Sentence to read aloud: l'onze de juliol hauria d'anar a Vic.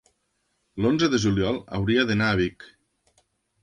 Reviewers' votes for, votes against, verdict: 3, 0, accepted